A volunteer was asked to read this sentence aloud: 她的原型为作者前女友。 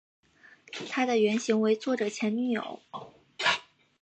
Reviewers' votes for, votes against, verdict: 4, 0, accepted